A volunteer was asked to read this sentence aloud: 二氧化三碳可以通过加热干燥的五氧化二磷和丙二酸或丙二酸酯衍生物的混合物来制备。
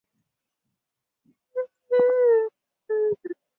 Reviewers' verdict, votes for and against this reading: rejected, 0, 2